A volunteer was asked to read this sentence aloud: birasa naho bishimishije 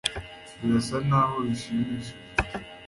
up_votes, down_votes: 1, 2